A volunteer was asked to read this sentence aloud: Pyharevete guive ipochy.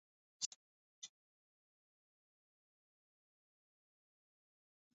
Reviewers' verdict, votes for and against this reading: rejected, 0, 2